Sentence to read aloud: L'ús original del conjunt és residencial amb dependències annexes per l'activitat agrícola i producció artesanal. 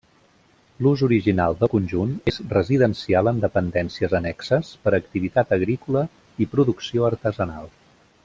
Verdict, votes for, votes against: rejected, 0, 2